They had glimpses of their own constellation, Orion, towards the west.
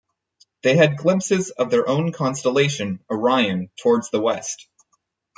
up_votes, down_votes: 4, 0